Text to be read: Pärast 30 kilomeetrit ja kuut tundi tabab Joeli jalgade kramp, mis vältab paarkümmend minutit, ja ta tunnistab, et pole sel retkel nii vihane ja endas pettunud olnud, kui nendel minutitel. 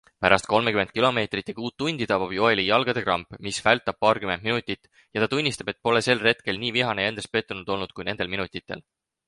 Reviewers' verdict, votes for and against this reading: rejected, 0, 2